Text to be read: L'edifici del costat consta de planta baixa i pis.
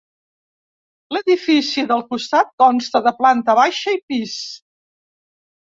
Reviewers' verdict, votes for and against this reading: accepted, 3, 0